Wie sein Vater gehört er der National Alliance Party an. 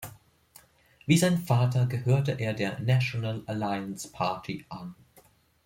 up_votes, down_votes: 3, 2